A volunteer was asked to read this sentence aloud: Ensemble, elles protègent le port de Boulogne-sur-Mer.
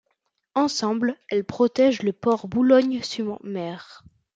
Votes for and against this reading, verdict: 1, 2, rejected